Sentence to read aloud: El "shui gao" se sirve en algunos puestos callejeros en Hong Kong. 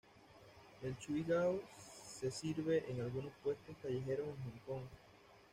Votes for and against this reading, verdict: 1, 2, rejected